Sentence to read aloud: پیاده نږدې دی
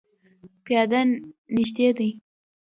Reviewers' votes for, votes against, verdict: 0, 2, rejected